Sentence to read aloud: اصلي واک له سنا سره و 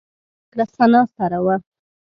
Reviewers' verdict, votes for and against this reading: rejected, 1, 2